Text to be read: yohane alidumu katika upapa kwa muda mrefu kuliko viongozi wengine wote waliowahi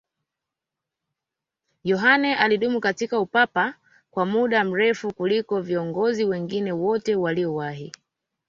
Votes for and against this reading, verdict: 2, 1, accepted